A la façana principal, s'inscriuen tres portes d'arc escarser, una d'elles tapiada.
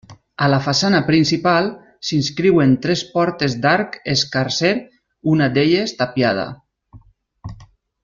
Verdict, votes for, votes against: accepted, 2, 0